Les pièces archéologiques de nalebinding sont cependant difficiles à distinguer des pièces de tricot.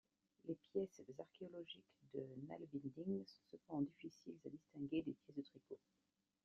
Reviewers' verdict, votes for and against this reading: rejected, 1, 2